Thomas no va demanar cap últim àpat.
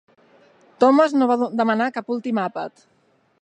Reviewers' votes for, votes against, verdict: 3, 1, accepted